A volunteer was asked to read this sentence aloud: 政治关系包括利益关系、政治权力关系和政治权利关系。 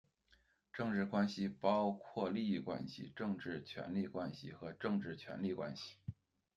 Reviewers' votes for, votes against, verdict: 2, 1, accepted